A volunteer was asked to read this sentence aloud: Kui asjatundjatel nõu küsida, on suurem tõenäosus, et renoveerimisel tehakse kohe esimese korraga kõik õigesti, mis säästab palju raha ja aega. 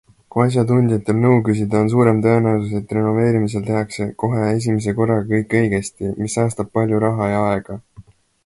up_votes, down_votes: 2, 0